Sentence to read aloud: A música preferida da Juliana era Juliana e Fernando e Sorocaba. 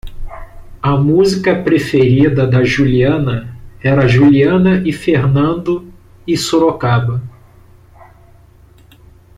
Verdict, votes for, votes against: accepted, 2, 0